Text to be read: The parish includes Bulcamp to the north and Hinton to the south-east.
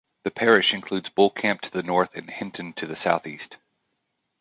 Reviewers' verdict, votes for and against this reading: accepted, 2, 1